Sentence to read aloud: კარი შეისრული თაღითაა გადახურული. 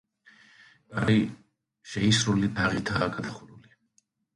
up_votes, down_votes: 1, 2